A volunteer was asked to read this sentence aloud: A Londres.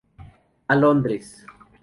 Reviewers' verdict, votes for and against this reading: rejected, 0, 2